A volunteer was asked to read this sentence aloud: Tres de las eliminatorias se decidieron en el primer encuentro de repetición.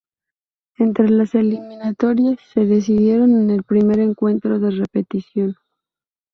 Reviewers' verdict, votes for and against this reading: rejected, 0, 4